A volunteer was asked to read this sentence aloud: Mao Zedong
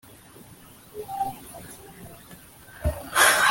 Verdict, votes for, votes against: rejected, 1, 2